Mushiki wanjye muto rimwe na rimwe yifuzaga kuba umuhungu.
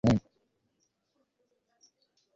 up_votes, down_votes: 2, 4